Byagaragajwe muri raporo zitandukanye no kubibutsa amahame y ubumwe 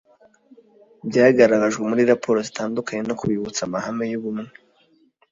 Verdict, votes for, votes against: accepted, 2, 0